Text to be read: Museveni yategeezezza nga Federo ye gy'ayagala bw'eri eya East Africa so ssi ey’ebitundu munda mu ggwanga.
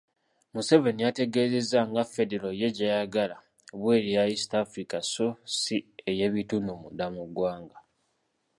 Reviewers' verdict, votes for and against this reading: accepted, 2, 0